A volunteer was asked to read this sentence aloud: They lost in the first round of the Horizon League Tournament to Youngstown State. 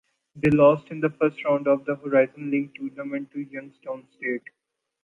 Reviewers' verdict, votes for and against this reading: accepted, 2, 0